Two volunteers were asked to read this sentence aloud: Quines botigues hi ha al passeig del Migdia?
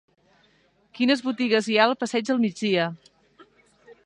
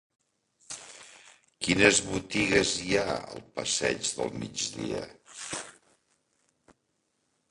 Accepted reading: first